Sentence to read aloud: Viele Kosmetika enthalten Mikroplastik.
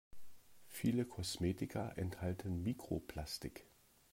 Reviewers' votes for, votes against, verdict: 1, 2, rejected